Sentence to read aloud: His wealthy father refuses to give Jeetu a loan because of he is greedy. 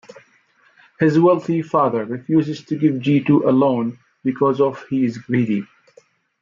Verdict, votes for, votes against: accepted, 2, 0